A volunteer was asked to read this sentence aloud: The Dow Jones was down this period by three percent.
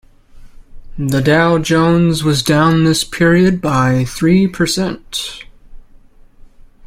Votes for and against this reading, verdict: 2, 0, accepted